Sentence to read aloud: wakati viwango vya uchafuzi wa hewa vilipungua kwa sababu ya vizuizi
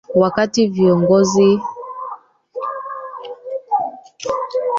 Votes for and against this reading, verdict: 0, 2, rejected